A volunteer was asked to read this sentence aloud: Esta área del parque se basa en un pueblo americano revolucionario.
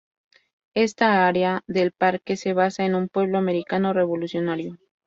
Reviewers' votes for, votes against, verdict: 4, 0, accepted